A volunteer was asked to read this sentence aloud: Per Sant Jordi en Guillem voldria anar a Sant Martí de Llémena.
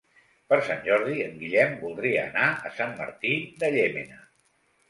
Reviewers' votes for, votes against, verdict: 3, 0, accepted